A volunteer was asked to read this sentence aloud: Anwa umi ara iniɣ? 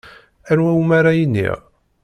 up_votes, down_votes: 2, 0